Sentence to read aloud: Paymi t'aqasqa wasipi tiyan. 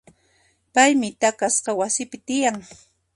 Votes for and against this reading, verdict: 1, 2, rejected